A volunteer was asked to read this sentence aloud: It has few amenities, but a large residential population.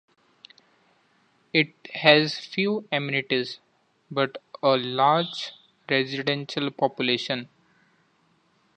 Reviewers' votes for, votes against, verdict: 2, 0, accepted